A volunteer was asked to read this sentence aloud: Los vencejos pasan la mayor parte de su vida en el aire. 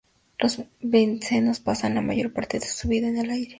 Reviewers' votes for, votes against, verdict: 0, 2, rejected